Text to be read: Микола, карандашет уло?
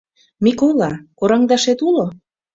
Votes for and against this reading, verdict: 1, 2, rejected